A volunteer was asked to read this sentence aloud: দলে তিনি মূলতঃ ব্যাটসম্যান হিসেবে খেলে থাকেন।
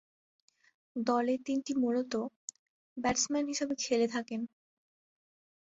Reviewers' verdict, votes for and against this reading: rejected, 0, 2